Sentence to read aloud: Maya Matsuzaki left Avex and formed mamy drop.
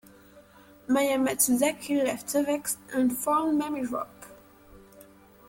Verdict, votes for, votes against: rejected, 1, 2